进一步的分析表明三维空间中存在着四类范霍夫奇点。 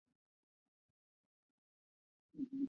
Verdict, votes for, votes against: rejected, 0, 2